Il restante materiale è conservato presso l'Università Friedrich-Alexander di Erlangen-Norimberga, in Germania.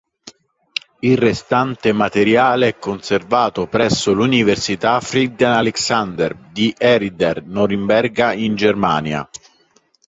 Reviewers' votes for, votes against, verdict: 1, 3, rejected